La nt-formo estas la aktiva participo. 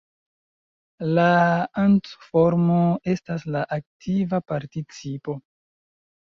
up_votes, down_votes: 0, 2